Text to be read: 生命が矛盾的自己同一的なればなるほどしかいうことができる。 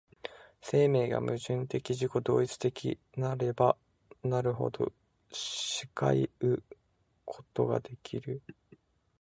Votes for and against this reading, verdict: 2, 1, accepted